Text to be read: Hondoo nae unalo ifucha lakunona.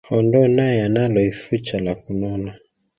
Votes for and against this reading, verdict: 1, 2, rejected